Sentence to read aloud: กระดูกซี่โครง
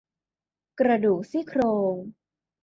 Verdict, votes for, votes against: accepted, 2, 0